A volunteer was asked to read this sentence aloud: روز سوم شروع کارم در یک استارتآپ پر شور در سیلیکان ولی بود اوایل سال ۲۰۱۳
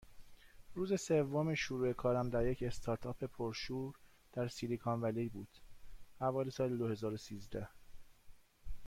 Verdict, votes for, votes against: rejected, 0, 2